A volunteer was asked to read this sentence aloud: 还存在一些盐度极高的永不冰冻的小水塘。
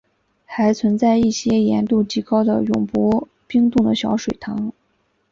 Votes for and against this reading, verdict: 3, 0, accepted